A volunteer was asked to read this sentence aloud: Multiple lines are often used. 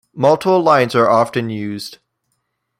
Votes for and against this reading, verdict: 0, 2, rejected